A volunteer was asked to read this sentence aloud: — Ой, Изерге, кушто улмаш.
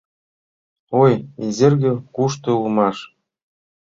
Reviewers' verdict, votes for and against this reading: accepted, 2, 0